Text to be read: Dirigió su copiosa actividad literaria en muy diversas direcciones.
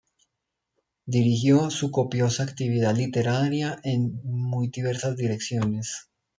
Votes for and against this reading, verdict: 1, 2, rejected